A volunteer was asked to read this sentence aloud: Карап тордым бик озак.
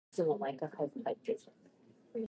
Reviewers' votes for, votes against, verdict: 0, 2, rejected